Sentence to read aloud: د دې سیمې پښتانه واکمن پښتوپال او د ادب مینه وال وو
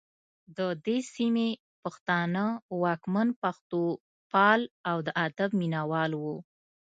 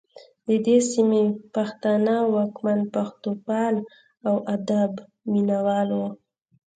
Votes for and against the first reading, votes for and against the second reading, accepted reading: 2, 0, 1, 2, first